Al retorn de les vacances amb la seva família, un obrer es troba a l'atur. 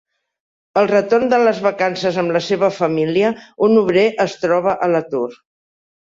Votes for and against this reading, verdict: 3, 0, accepted